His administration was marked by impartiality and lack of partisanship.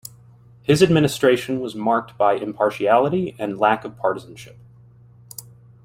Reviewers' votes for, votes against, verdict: 2, 0, accepted